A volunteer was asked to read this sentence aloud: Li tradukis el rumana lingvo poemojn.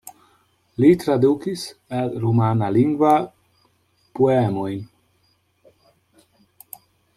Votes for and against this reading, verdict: 0, 2, rejected